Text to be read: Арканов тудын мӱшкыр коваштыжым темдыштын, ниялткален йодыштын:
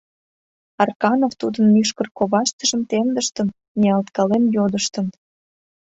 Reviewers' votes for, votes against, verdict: 2, 0, accepted